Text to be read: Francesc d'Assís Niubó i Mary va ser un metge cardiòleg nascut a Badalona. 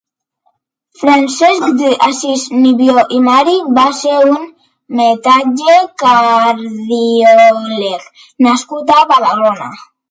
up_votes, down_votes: 0, 2